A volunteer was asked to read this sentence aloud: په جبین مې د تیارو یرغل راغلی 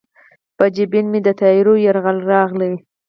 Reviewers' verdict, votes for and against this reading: accepted, 4, 2